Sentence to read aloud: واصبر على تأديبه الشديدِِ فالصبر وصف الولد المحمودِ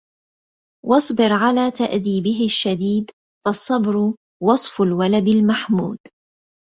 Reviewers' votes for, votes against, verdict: 1, 2, rejected